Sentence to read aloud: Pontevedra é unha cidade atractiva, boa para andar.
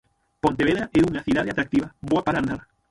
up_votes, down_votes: 0, 6